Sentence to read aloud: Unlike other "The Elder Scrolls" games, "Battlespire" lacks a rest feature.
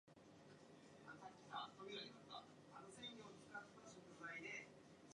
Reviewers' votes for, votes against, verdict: 0, 2, rejected